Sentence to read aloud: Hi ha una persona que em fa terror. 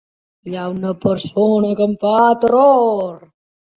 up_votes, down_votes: 2, 1